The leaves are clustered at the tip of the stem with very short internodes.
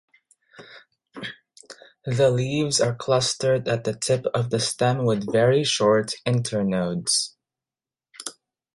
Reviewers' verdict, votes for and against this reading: accepted, 2, 0